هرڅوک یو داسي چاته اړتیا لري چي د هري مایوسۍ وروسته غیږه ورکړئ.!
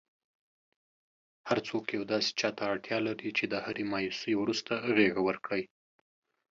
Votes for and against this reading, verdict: 2, 0, accepted